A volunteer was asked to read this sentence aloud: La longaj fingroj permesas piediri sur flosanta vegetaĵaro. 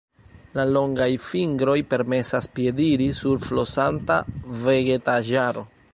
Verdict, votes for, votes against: accepted, 2, 0